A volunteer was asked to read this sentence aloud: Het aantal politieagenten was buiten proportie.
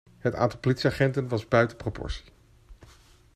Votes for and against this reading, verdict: 2, 0, accepted